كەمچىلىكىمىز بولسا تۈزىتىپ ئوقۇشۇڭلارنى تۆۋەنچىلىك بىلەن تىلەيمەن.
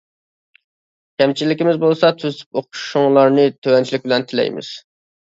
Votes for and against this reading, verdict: 1, 2, rejected